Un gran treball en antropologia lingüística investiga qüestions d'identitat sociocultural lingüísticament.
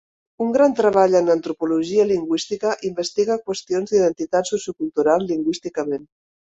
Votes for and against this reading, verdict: 2, 0, accepted